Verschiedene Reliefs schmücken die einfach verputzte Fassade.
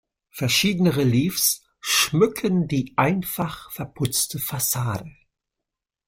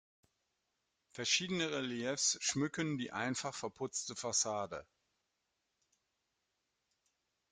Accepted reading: second